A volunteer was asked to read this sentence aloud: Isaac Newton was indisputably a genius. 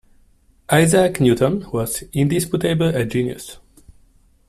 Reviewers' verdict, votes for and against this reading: rejected, 0, 2